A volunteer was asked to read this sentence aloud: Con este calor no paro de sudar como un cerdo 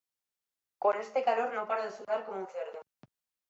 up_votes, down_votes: 2, 0